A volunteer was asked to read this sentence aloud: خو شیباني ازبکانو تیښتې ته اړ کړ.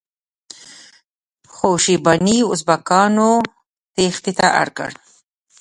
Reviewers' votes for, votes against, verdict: 2, 0, accepted